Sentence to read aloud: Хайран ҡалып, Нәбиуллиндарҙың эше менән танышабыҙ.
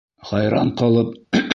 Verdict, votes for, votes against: rejected, 0, 2